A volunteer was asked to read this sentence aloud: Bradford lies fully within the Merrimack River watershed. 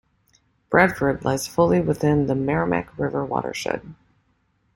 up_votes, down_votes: 2, 1